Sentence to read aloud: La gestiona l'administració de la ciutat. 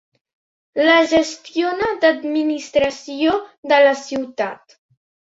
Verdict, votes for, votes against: accepted, 3, 1